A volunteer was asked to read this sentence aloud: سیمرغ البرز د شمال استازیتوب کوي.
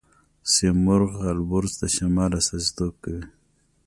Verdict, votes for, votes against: accepted, 2, 0